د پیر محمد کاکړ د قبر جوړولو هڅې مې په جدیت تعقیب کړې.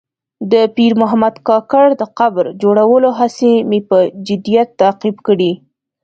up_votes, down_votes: 2, 0